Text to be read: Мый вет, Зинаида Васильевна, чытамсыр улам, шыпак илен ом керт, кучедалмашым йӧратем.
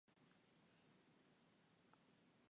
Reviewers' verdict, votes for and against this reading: rejected, 1, 2